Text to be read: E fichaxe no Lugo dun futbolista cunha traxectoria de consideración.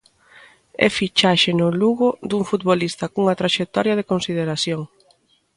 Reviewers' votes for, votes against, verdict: 2, 0, accepted